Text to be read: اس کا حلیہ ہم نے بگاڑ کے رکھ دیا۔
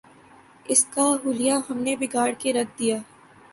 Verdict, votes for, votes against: accepted, 9, 0